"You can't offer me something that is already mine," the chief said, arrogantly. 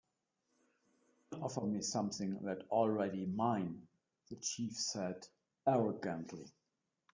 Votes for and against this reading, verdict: 2, 5, rejected